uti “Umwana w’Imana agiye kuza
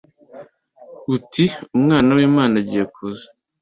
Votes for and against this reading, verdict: 2, 0, accepted